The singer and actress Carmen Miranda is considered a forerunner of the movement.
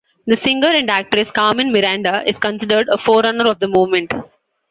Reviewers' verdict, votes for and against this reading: accepted, 2, 0